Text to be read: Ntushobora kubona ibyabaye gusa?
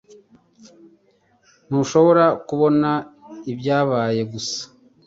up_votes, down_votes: 2, 0